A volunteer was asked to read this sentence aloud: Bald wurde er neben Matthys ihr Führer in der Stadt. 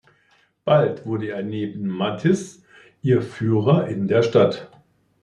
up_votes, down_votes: 0, 2